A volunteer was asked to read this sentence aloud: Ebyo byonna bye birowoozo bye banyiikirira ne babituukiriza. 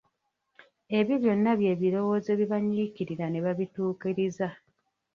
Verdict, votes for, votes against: rejected, 0, 2